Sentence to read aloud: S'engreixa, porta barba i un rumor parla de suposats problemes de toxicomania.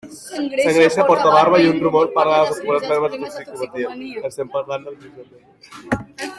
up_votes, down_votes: 0, 2